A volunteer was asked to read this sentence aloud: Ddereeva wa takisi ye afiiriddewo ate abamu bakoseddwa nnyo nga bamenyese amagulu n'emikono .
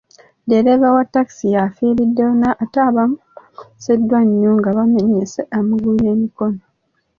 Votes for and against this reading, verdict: 1, 2, rejected